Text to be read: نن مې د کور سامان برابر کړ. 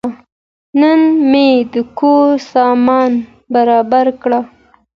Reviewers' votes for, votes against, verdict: 2, 0, accepted